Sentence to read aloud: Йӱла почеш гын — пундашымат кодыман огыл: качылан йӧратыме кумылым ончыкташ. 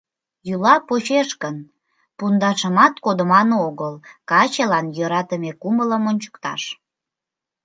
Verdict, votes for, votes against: accepted, 2, 0